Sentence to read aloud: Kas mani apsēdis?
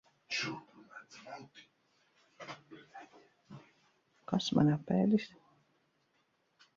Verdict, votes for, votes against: rejected, 0, 2